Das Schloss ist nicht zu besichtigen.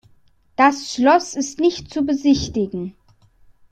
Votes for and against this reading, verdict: 2, 0, accepted